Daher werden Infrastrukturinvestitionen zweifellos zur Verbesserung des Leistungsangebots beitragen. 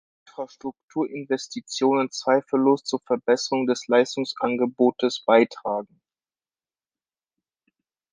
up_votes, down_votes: 0, 2